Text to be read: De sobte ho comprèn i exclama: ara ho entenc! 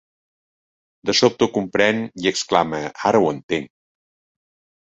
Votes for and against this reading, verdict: 2, 0, accepted